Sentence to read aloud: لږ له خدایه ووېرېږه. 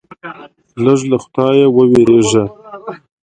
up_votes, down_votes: 0, 2